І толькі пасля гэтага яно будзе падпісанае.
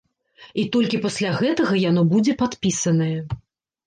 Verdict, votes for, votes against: rejected, 1, 2